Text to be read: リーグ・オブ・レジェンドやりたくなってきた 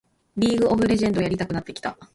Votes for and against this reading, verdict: 1, 2, rejected